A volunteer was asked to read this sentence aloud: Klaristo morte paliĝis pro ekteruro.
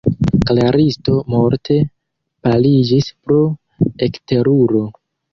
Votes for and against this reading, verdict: 2, 1, accepted